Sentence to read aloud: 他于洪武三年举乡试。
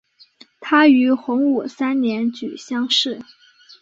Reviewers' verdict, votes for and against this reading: accepted, 3, 0